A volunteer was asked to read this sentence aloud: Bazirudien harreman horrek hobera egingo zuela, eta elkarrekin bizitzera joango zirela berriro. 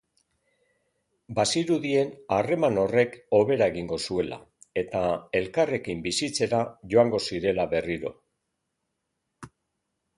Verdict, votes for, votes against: accepted, 4, 0